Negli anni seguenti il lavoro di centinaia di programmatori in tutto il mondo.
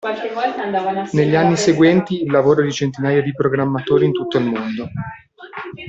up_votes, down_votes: 0, 2